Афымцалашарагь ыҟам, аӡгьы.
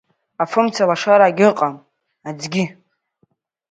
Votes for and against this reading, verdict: 2, 0, accepted